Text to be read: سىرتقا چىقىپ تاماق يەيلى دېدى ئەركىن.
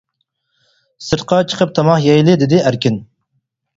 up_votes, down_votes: 4, 0